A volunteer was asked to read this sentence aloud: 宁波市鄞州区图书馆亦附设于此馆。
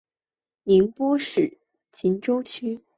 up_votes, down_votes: 0, 6